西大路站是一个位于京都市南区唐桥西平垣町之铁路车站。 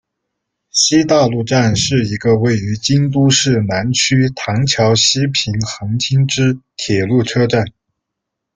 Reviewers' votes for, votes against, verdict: 1, 2, rejected